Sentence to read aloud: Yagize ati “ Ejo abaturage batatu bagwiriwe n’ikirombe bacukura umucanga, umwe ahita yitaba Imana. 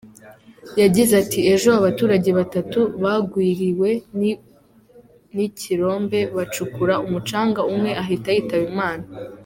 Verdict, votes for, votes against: accepted, 2, 1